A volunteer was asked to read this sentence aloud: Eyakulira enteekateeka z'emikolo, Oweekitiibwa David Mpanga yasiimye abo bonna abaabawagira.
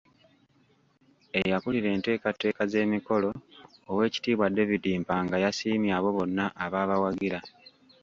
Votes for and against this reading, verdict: 1, 2, rejected